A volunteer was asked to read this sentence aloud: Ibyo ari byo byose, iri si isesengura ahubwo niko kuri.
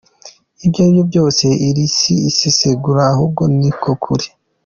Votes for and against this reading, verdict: 2, 0, accepted